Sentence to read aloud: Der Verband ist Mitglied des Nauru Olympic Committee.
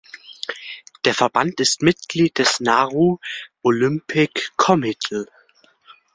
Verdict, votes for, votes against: rejected, 0, 2